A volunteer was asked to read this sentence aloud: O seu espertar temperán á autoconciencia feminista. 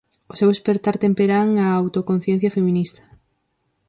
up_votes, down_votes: 4, 0